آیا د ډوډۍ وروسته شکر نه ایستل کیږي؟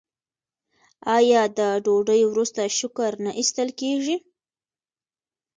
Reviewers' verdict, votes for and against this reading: rejected, 1, 2